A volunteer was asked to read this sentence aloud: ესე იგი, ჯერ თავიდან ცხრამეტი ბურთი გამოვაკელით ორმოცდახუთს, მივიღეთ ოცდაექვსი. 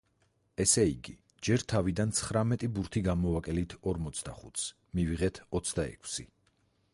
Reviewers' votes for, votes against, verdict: 4, 0, accepted